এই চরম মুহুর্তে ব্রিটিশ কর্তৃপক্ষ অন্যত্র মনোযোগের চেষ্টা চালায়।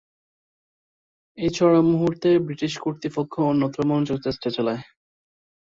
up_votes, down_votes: 0, 2